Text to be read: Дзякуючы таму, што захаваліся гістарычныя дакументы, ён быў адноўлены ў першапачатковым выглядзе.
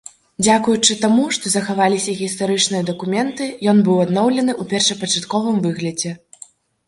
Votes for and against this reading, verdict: 2, 0, accepted